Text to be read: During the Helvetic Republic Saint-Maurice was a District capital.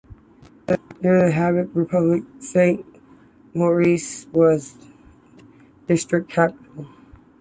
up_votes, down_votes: 2, 0